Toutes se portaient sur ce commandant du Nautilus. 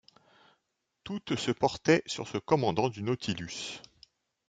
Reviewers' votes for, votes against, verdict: 1, 2, rejected